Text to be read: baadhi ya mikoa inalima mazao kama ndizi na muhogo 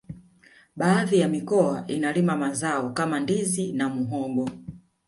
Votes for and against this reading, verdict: 2, 3, rejected